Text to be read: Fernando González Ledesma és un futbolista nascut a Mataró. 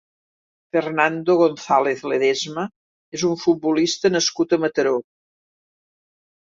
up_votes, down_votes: 2, 0